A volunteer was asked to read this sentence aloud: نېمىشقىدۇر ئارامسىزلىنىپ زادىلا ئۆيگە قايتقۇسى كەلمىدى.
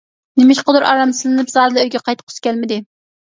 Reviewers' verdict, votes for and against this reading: accepted, 2, 0